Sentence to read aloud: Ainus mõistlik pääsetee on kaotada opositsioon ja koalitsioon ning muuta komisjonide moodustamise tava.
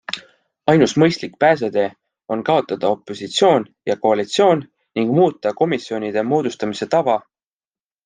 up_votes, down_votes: 2, 0